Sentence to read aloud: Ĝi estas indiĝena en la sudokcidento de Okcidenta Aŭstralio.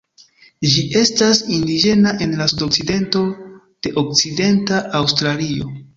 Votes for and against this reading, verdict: 1, 2, rejected